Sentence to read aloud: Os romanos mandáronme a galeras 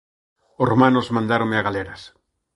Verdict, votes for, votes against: accepted, 2, 0